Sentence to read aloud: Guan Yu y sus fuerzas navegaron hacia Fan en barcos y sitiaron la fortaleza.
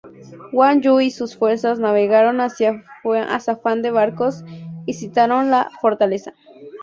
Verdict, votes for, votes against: rejected, 0, 4